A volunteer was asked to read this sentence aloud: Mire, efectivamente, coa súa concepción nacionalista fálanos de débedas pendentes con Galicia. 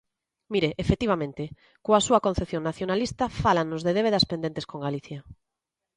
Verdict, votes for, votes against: accepted, 2, 0